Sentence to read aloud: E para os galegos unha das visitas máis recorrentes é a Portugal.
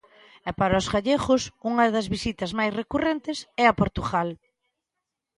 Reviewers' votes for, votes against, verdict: 1, 2, rejected